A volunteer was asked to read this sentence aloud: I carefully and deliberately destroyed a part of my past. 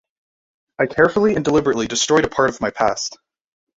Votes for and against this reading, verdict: 2, 0, accepted